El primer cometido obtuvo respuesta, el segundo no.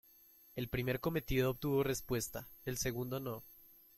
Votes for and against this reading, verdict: 2, 0, accepted